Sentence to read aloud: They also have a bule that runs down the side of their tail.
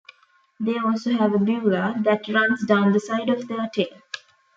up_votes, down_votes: 0, 2